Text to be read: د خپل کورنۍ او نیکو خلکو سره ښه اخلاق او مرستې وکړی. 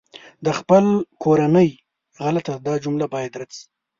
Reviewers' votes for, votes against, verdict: 1, 2, rejected